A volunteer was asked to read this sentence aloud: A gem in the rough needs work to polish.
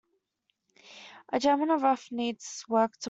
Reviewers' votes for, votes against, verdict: 0, 2, rejected